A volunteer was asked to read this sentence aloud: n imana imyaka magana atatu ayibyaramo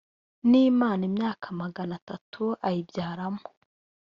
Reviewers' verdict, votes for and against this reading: rejected, 0, 2